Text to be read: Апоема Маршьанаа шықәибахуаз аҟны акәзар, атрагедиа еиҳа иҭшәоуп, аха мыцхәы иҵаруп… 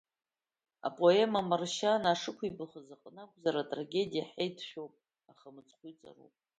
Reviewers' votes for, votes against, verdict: 0, 2, rejected